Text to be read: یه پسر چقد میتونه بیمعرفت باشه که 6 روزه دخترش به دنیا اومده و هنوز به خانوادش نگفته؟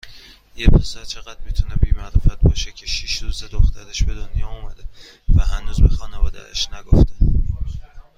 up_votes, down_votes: 0, 2